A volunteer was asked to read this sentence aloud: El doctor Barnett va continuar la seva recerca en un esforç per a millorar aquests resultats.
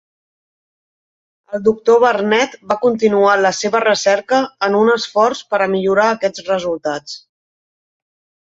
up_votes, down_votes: 5, 0